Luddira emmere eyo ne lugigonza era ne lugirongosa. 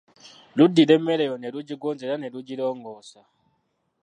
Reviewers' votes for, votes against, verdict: 0, 2, rejected